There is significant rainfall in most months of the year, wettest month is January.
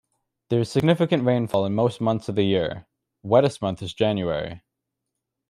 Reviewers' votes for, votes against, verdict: 2, 0, accepted